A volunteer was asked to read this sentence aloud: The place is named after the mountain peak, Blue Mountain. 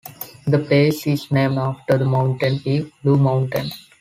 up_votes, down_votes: 2, 4